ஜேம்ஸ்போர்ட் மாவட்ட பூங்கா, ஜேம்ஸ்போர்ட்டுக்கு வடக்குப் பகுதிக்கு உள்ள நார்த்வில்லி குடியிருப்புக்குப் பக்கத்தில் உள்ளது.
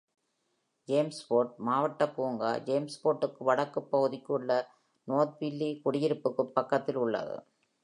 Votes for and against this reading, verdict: 2, 0, accepted